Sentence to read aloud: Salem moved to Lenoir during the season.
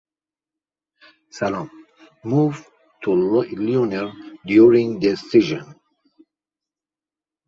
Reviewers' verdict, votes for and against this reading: rejected, 0, 2